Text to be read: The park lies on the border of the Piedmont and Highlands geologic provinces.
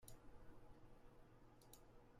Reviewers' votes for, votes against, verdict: 0, 2, rejected